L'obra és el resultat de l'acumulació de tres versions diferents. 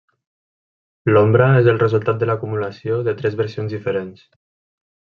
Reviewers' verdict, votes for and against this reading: rejected, 1, 2